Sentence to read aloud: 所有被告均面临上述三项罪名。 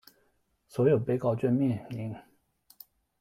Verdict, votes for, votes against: rejected, 0, 2